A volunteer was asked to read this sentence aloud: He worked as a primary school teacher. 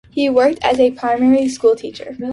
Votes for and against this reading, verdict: 2, 0, accepted